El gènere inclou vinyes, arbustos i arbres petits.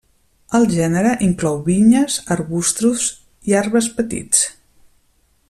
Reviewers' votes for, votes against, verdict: 1, 2, rejected